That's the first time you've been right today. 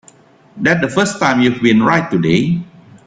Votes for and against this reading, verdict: 1, 2, rejected